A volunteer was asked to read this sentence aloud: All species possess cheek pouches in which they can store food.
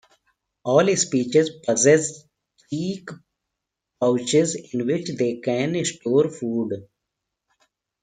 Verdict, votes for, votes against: rejected, 1, 2